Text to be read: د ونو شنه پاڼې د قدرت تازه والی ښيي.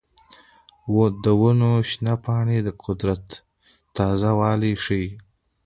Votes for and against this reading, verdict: 0, 2, rejected